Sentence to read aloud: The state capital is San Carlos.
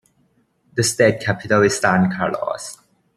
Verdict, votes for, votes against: accepted, 3, 0